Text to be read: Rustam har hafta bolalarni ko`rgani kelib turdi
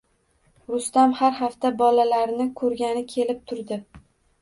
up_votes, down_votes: 2, 0